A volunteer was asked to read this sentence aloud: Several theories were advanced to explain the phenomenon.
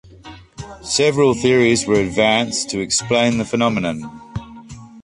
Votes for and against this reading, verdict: 2, 0, accepted